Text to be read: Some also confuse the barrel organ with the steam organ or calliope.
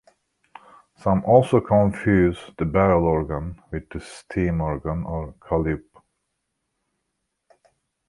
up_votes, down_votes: 0, 2